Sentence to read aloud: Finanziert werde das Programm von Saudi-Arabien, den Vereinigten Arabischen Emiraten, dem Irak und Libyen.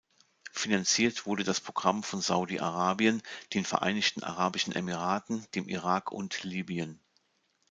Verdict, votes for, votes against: rejected, 0, 2